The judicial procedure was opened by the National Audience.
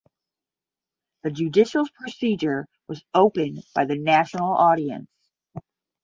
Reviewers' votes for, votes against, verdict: 10, 0, accepted